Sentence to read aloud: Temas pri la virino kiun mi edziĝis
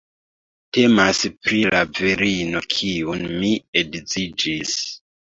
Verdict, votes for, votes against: rejected, 0, 2